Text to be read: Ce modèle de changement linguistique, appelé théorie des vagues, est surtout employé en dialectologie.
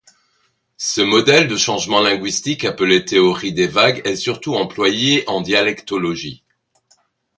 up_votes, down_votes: 2, 0